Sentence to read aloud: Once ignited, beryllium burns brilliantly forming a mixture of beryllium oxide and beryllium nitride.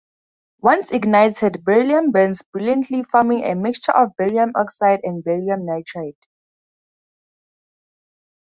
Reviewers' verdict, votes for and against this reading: rejected, 2, 2